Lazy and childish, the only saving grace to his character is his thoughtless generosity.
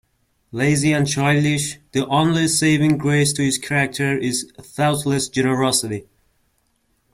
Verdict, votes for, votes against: rejected, 0, 2